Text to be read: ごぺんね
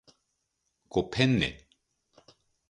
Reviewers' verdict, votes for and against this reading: accepted, 2, 0